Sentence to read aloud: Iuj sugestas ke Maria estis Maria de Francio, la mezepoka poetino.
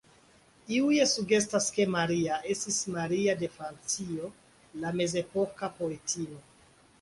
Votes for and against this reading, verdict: 3, 0, accepted